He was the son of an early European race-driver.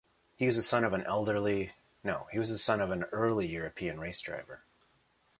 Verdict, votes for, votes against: rejected, 0, 2